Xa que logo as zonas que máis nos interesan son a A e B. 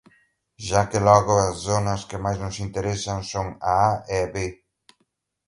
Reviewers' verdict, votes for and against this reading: accepted, 2, 1